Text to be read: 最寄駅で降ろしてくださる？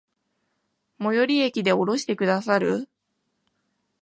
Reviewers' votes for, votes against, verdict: 3, 0, accepted